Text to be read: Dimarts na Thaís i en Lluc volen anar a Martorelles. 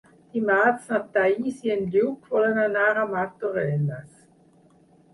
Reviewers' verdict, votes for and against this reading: rejected, 2, 6